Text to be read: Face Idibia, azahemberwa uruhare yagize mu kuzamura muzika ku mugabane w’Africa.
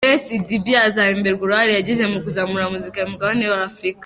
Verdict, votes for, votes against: rejected, 1, 2